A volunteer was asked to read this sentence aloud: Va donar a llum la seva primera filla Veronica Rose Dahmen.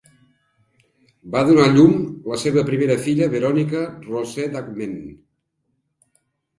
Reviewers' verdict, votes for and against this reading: accepted, 2, 1